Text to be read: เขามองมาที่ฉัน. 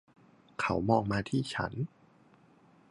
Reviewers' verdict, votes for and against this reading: accepted, 2, 0